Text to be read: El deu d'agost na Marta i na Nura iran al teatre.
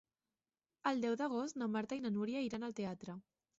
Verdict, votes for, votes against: accepted, 3, 2